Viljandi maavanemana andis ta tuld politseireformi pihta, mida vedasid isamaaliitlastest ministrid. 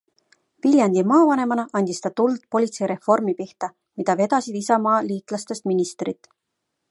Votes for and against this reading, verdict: 2, 0, accepted